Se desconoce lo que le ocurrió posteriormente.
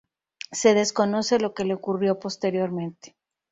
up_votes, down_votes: 2, 0